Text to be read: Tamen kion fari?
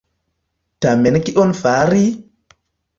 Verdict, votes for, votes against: accepted, 2, 0